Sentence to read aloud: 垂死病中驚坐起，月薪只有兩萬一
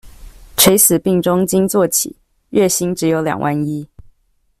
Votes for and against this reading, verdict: 2, 0, accepted